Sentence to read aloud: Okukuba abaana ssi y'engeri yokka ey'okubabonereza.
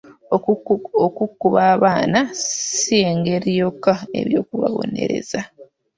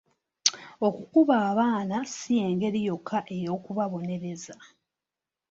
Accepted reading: second